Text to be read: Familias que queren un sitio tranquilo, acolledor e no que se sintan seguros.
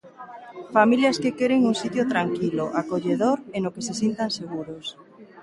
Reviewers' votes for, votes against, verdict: 2, 0, accepted